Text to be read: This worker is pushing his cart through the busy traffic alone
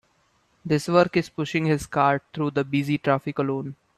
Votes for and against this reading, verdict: 0, 3, rejected